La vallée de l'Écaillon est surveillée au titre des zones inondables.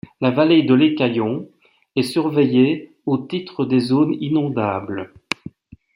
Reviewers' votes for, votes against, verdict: 2, 0, accepted